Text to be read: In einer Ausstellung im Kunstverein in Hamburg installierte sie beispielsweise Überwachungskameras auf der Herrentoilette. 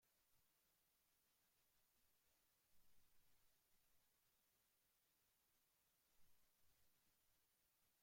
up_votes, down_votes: 0, 2